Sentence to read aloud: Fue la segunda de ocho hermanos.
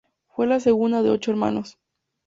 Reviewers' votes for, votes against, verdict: 2, 0, accepted